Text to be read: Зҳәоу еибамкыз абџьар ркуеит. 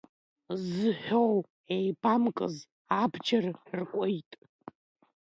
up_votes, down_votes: 1, 2